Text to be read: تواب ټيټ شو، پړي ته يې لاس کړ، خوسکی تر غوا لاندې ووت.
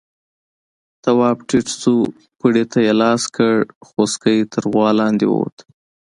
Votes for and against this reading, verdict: 2, 0, accepted